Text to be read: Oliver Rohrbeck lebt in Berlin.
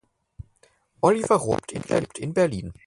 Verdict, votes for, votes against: rejected, 0, 4